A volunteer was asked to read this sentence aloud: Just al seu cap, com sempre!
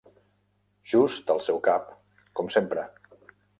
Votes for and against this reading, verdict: 3, 0, accepted